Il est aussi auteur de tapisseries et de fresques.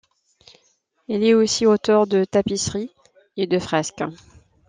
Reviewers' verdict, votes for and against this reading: accepted, 2, 0